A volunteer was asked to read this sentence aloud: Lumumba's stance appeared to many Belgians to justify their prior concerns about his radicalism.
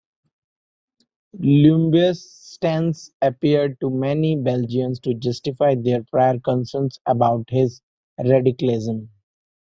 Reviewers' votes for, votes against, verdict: 0, 2, rejected